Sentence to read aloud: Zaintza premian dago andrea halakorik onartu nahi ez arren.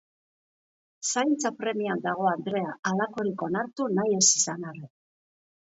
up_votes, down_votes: 2, 2